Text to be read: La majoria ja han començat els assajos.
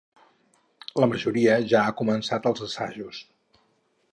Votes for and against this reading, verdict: 0, 4, rejected